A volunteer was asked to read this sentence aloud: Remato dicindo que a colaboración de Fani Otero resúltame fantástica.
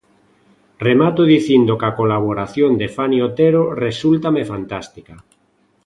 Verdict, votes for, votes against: accepted, 2, 0